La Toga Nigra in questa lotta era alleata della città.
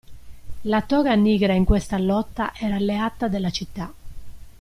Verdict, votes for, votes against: accepted, 2, 0